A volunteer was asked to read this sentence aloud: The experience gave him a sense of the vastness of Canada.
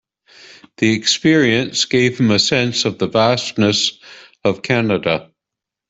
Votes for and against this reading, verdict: 2, 0, accepted